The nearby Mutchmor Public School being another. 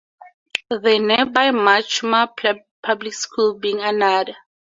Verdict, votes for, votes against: rejected, 0, 2